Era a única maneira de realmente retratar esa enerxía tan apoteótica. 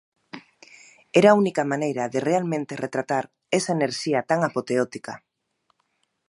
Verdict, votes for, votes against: accepted, 2, 0